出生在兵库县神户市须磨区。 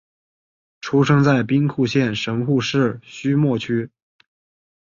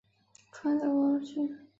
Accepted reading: first